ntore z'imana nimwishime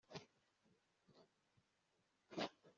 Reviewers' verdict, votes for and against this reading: rejected, 0, 2